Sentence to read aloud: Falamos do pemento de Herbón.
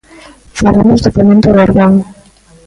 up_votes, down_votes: 0, 2